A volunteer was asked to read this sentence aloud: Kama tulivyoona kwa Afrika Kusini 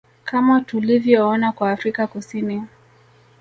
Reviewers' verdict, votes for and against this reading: accepted, 2, 0